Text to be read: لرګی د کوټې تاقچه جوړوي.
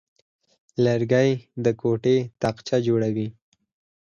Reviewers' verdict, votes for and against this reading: rejected, 2, 4